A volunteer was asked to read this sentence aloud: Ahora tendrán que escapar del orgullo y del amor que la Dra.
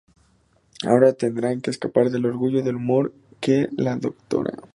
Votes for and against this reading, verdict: 2, 4, rejected